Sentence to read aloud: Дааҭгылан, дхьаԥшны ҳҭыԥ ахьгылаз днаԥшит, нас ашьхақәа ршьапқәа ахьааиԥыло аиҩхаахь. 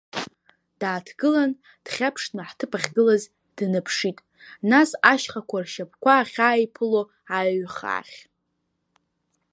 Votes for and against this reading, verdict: 0, 2, rejected